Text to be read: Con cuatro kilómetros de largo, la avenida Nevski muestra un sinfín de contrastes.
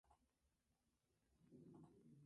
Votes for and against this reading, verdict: 0, 2, rejected